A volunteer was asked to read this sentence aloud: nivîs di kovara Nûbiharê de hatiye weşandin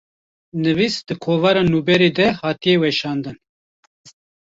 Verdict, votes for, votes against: rejected, 1, 2